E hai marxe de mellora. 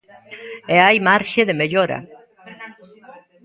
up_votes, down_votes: 0, 2